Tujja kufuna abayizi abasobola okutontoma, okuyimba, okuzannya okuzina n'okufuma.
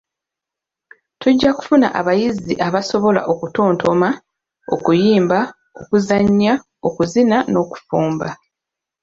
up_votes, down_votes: 1, 2